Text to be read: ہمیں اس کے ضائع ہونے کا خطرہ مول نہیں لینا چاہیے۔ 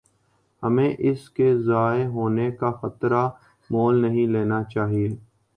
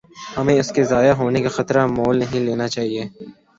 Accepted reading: second